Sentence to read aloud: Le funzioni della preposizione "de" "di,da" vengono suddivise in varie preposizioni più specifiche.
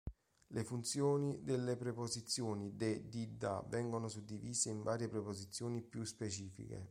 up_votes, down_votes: 0, 2